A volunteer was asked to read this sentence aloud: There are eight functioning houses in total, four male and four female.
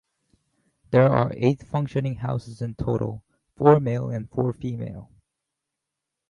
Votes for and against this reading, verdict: 0, 2, rejected